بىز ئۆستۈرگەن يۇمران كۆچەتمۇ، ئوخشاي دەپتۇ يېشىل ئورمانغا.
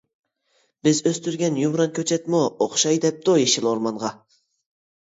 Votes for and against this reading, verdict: 2, 0, accepted